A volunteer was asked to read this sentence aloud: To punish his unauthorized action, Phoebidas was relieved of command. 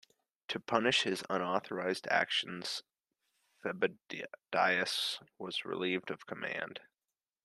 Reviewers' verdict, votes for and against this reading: rejected, 1, 2